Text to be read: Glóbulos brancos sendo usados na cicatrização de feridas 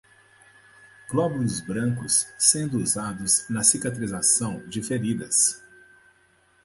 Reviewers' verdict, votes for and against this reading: accepted, 2, 0